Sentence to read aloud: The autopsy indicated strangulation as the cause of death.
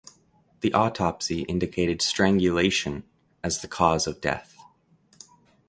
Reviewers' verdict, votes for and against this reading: accepted, 2, 0